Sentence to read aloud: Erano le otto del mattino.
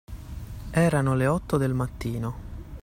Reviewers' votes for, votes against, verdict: 2, 0, accepted